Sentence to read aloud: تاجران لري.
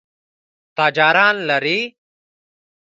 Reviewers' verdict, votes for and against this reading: accepted, 2, 1